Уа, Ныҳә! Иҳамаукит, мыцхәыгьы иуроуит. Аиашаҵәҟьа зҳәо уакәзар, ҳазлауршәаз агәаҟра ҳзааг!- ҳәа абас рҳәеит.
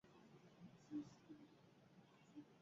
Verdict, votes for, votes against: rejected, 0, 2